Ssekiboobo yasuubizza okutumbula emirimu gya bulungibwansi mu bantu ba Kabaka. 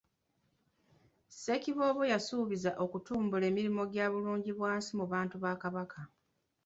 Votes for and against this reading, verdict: 2, 0, accepted